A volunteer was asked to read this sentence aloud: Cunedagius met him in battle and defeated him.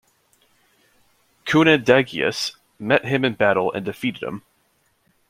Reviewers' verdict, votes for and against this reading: rejected, 0, 2